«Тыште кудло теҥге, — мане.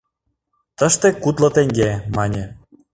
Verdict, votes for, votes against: accepted, 2, 0